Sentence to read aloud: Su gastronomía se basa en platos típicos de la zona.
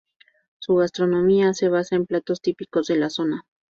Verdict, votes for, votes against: rejected, 2, 2